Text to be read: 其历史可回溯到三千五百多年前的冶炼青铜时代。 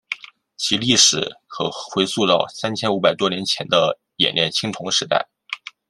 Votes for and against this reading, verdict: 2, 0, accepted